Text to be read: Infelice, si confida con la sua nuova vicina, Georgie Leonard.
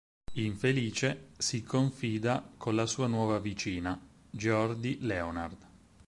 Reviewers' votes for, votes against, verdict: 0, 4, rejected